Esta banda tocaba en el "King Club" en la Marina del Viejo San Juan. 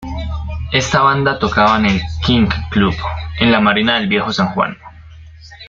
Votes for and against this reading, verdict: 2, 0, accepted